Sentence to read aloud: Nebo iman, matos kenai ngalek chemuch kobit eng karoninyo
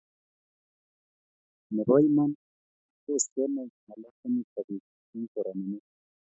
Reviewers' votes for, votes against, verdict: 1, 2, rejected